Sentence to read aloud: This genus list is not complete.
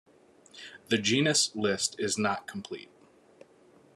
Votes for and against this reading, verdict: 0, 2, rejected